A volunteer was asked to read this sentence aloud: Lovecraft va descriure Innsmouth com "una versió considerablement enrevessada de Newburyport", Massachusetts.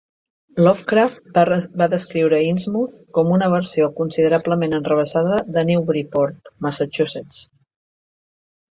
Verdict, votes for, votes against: rejected, 1, 2